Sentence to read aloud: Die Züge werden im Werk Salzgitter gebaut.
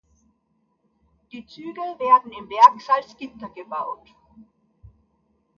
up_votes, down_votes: 2, 0